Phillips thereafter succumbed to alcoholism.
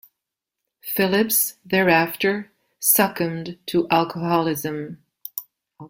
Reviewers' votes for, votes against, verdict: 0, 2, rejected